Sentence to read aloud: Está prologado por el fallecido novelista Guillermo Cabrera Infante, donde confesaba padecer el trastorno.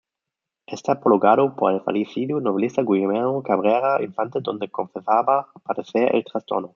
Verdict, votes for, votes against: rejected, 1, 2